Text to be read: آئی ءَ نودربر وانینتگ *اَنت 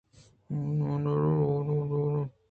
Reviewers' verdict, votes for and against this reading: accepted, 2, 0